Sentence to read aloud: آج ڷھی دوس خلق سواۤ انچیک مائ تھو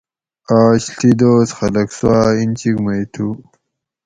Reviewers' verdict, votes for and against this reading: rejected, 2, 2